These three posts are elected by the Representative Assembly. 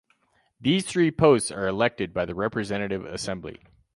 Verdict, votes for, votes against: accepted, 2, 0